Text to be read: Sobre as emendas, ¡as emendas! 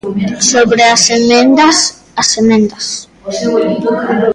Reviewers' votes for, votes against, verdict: 1, 2, rejected